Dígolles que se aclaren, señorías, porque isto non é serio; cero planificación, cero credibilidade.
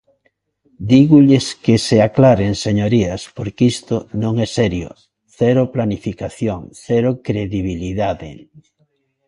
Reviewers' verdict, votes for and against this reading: accepted, 2, 0